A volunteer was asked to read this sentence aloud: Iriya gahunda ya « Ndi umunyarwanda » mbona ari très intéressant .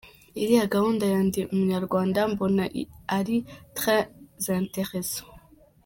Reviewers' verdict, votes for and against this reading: rejected, 1, 2